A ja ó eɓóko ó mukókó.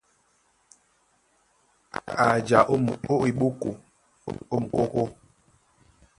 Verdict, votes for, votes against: rejected, 0, 2